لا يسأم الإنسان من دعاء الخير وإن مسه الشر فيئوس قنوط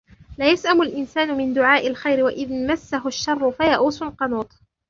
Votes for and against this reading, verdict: 1, 2, rejected